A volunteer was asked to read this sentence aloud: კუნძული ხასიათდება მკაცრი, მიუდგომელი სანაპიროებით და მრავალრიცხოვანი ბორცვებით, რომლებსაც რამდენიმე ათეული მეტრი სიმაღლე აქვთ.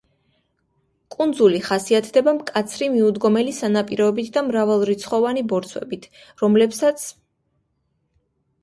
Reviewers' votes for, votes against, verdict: 0, 2, rejected